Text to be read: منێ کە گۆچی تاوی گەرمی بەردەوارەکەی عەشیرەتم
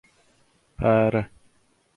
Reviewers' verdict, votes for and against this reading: rejected, 0, 2